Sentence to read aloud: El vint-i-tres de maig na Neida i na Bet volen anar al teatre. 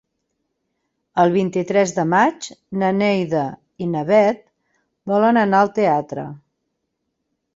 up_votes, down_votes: 2, 0